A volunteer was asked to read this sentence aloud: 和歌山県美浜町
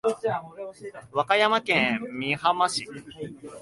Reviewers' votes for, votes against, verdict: 1, 3, rejected